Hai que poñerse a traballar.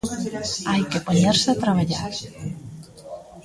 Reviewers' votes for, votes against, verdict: 1, 2, rejected